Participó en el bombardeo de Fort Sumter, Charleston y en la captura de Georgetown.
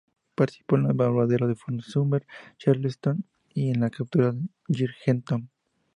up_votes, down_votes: 2, 0